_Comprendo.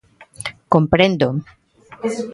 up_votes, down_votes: 2, 0